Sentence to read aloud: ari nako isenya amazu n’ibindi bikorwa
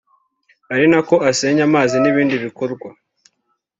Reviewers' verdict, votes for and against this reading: rejected, 1, 2